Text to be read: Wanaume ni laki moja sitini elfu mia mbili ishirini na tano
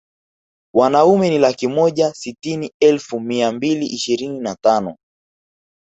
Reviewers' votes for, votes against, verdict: 3, 0, accepted